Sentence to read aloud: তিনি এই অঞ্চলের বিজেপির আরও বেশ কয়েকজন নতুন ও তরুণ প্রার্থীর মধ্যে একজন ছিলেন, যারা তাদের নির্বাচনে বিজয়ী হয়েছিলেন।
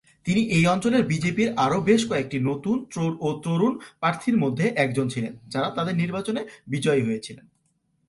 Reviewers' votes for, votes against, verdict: 1, 2, rejected